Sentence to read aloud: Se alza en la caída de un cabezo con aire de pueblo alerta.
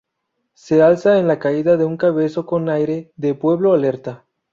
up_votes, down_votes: 4, 0